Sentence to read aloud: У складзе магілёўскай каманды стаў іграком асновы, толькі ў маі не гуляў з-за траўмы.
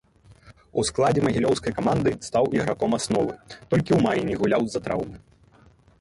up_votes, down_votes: 0, 3